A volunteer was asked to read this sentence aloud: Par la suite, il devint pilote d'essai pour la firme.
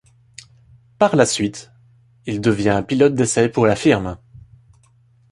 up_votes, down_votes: 0, 2